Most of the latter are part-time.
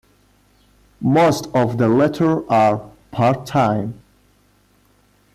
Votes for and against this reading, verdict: 2, 1, accepted